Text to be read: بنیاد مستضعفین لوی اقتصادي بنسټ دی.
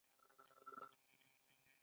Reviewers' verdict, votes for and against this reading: rejected, 0, 2